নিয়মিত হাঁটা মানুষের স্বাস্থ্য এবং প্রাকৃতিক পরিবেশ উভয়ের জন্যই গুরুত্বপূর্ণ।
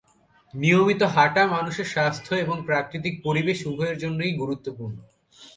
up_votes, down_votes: 4, 0